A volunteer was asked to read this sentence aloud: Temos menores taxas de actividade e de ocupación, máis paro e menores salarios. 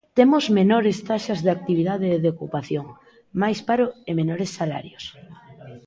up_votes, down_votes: 2, 0